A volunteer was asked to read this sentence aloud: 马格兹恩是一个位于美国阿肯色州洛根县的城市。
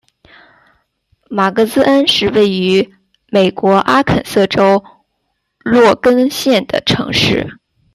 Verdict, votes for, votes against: rejected, 0, 2